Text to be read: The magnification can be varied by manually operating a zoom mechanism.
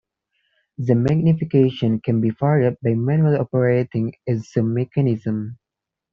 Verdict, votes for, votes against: accepted, 2, 1